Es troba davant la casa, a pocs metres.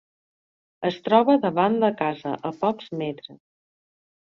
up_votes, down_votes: 6, 0